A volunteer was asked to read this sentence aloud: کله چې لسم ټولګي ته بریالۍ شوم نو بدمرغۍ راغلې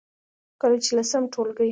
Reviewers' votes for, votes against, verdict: 0, 2, rejected